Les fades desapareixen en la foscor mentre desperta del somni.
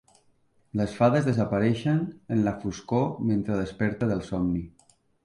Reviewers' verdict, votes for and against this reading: accepted, 3, 0